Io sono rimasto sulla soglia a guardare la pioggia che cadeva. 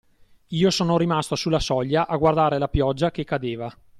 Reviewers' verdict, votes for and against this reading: accepted, 2, 0